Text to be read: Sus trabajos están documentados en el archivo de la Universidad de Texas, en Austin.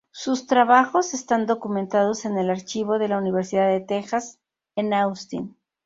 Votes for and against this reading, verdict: 0, 2, rejected